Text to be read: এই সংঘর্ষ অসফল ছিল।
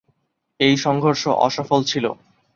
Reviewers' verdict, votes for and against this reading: accepted, 2, 0